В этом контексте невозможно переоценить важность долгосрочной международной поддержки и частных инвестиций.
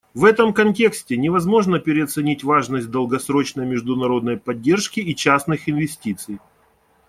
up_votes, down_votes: 2, 0